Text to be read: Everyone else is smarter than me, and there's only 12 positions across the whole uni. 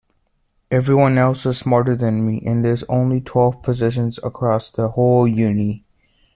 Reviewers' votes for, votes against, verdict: 0, 2, rejected